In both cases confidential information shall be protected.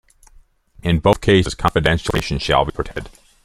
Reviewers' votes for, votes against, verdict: 0, 2, rejected